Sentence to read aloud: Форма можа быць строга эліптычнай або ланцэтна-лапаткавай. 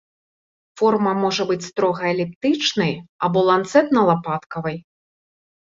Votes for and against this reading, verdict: 3, 0, accepted